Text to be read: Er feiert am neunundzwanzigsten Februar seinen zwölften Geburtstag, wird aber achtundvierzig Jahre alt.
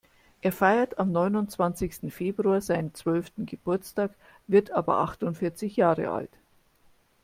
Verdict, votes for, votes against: accepted, 2, 0